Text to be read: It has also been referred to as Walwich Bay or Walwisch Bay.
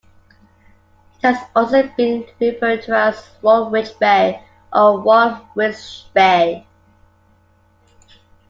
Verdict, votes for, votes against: accepted, 2, 1